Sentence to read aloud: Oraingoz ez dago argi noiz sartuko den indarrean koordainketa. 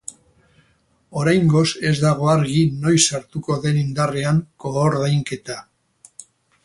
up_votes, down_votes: 0, 2